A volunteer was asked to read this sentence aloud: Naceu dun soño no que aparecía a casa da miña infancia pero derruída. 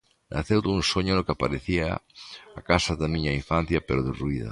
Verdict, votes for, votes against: accepted, 2, 0